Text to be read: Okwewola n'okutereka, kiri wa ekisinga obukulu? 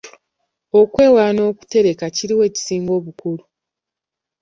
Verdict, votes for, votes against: accepted, 2, 0